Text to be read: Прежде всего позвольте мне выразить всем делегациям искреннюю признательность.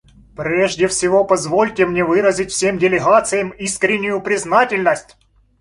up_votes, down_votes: 2, 0